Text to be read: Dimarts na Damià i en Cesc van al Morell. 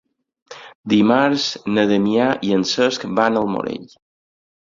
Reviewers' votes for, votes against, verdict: 4, 0, accepted